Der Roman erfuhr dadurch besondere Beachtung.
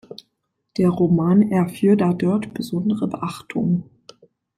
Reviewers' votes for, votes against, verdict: 0, 2, rejected